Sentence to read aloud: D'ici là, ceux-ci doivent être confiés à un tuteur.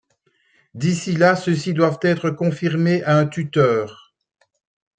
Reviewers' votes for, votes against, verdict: 1, 2, rejected